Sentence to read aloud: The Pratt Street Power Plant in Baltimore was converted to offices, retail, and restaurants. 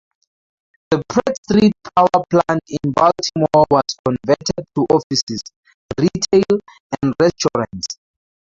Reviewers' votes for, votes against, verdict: 0, 4, rejected